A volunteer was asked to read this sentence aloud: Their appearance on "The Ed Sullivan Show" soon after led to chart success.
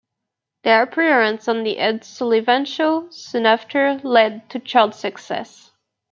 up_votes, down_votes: 2, 0